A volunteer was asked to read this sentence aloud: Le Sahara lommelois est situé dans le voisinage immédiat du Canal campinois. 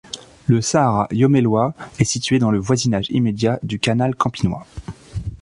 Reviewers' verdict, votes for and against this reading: accepted, 2, 0